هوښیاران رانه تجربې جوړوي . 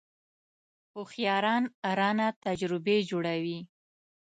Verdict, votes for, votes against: accepted, 2, 0